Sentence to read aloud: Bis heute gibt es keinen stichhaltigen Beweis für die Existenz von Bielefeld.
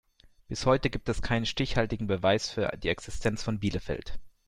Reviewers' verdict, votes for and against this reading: rejected, 0, 2